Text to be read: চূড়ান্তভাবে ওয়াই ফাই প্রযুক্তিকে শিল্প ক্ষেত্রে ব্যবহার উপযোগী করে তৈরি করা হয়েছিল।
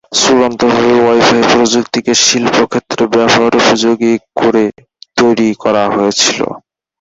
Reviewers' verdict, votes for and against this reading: rejected, 0, 2